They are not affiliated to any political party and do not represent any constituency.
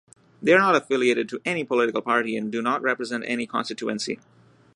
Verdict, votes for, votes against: rejected, 1, 2